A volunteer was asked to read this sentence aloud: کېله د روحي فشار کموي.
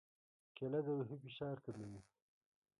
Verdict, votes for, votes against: rejected, 1, 2